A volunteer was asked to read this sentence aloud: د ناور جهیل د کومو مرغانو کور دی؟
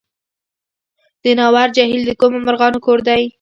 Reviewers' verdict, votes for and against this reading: accepted, 2, 0